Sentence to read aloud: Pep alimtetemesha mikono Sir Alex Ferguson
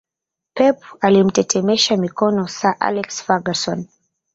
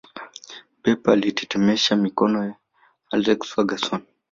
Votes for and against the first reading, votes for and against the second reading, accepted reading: 2, 0, 1, 3, first